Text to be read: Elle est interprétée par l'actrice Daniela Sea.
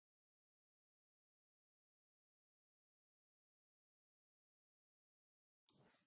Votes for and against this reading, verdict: 0, 2, rejected